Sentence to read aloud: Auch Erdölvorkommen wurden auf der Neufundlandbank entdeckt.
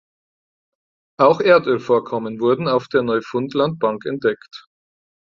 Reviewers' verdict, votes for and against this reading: accepted, 4, 0